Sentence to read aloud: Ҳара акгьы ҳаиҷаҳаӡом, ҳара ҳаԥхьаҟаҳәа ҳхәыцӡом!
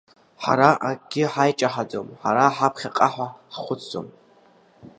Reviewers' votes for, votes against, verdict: 1, 3, rejected